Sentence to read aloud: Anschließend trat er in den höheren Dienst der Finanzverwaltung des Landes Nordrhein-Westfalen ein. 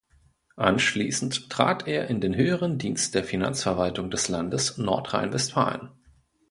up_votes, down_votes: 0, 2